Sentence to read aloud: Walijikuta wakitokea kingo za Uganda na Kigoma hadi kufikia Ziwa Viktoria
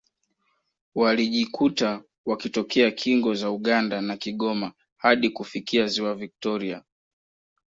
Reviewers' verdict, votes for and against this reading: accepted, 2, 0